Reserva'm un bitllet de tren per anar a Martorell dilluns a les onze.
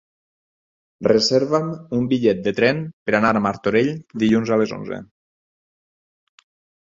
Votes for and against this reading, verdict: 6, 0, accepted